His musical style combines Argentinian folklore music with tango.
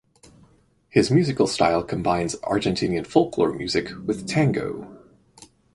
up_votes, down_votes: 4, 0